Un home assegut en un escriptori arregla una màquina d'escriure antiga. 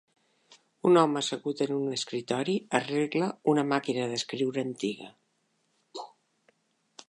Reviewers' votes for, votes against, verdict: 2, 1, accepted